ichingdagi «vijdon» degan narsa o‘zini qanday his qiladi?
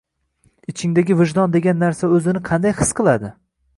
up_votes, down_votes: 2, 0